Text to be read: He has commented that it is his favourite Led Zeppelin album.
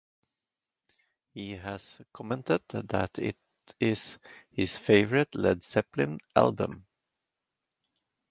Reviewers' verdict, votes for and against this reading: rejected, 0, 2